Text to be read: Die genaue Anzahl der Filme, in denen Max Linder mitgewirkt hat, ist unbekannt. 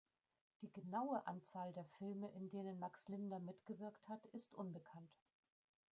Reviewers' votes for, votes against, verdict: 1, 2, rejected